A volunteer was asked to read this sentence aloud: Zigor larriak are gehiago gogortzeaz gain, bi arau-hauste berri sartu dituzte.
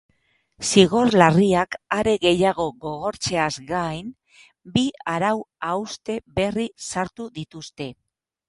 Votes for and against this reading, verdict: 6, 0, accepted